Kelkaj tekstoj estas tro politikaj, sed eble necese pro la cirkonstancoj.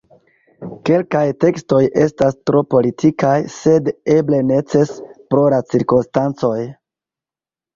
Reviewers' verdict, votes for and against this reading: accepted, 2, 1